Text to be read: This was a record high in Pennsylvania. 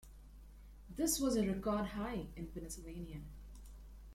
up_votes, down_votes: 2, 1